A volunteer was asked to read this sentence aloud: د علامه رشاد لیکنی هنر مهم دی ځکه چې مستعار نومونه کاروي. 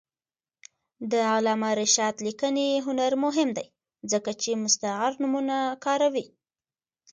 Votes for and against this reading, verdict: 1, 2, rejected